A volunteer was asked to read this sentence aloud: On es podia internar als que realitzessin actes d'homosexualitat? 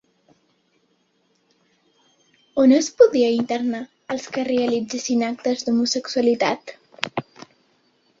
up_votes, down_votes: 3, 0